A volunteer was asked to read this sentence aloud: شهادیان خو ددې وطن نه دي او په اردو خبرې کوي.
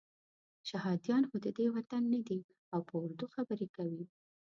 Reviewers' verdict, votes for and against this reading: accepted, 2, 0